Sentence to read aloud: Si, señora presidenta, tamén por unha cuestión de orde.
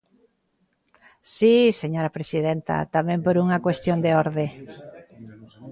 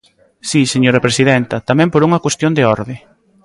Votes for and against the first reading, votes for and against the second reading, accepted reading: 0, 2, 2, 0, second